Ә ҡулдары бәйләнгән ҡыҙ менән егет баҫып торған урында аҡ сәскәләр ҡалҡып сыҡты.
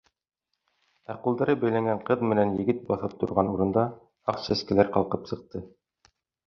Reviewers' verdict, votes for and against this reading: accepted, 2, 0